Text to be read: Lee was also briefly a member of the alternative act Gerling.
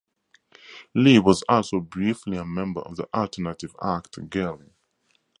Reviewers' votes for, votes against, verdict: 2, 0, accepted